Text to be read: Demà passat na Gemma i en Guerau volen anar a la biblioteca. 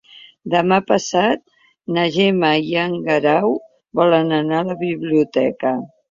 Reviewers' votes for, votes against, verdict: 2, 0, accepted